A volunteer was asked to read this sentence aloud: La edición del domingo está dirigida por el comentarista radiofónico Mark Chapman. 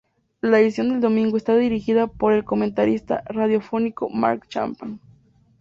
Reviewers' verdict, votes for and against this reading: accepted, 2, 0